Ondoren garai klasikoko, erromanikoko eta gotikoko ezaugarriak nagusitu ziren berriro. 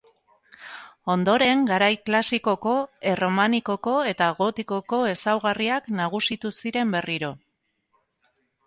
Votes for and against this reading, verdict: 3, 0, accepted